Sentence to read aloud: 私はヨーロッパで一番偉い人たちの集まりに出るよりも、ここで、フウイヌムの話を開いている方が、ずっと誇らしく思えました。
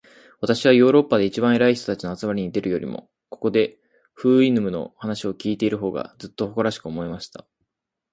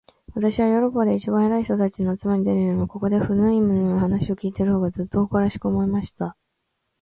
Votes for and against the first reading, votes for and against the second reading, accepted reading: 0, 2, 3, 1, second